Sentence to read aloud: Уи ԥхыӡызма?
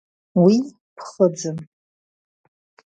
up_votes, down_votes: 1, 2